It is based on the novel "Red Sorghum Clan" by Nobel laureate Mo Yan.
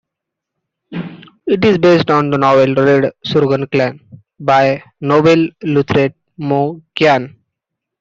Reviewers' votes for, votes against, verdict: 0, 2, rejected